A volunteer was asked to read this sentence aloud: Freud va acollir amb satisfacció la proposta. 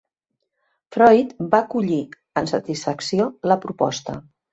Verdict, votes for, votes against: accepted, 2, 0